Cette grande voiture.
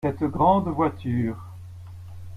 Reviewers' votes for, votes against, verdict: 1, 2, rejected